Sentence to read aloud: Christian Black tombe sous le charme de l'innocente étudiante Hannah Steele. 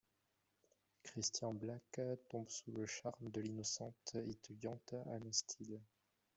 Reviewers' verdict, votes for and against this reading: accepted, 2, 1